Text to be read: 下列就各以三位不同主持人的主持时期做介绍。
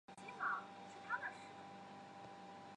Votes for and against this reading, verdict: 1, 4, rejected